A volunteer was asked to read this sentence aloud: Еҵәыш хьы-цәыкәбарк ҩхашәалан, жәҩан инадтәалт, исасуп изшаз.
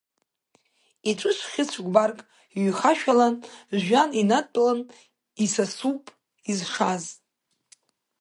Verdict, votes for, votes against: rejected, 0, 2